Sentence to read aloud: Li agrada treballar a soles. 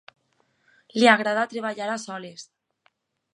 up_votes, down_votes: 4, 0